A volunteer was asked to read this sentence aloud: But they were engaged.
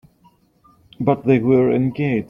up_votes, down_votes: 0, 2